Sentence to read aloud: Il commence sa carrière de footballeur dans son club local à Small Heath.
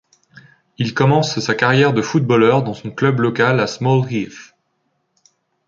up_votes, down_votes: 2, 0